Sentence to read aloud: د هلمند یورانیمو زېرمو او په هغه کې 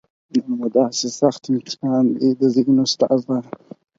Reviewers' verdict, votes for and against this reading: rejected, 0, 4